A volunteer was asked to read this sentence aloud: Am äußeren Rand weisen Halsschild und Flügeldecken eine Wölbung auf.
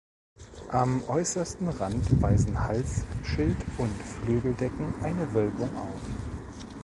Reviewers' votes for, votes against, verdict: 1, 3, rejected